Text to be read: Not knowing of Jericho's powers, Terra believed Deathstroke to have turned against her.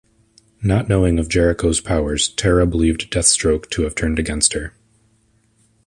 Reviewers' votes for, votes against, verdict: 2, 0, accepted